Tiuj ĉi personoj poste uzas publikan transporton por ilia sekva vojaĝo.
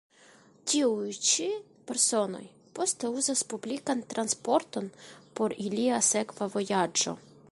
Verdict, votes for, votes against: accepted, 2, 0